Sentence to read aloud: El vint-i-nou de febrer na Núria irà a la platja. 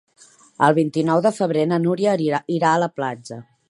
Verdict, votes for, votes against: rejected, 0, 2